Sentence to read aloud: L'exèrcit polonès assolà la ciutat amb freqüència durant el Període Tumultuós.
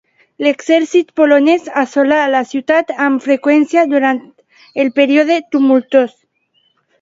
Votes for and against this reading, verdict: 1, 2, rejected